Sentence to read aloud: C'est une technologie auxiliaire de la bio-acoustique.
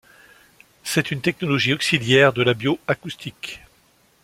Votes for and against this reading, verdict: 2, 0, accepted